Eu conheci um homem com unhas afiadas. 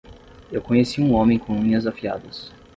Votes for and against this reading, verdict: 6, 0, accepted